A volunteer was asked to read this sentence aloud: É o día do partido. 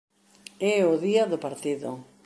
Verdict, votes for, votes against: accepted, 2, 0